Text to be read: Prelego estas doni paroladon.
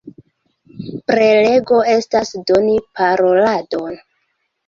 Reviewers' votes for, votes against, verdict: 1, 2, rejected